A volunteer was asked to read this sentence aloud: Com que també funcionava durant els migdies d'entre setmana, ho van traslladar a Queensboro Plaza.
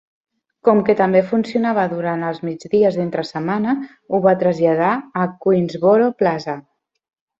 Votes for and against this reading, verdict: 1, 2, rejected